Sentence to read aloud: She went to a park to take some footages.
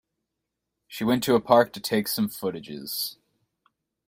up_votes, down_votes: 2, 0